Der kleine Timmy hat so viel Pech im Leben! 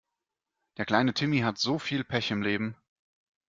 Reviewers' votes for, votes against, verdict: 2, 0, accepted